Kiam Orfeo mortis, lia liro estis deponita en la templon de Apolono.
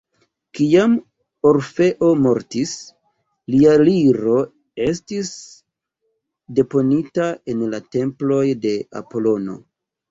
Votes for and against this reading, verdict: 1, 2, rejected